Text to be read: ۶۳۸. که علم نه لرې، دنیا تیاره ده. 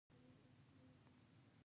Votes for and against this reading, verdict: 0, 2, rejected